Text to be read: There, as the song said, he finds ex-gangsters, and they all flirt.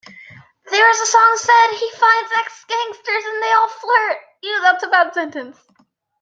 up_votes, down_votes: 0, 2